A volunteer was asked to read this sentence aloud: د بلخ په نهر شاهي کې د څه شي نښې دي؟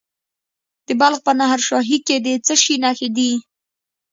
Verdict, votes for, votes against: rejected, 1, 2